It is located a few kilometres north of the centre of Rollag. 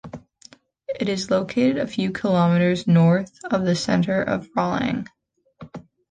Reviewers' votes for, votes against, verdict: 2, 0, accepted